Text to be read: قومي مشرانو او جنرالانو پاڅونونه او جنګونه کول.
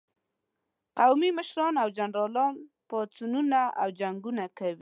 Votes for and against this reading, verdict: 1, 2, rejected